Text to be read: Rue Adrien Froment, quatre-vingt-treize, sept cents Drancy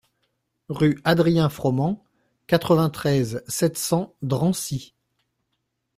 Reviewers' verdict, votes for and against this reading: accepted, 2, 0